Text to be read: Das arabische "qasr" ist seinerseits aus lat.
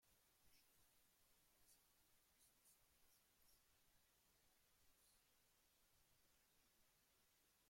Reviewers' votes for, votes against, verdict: 0, 2, rejected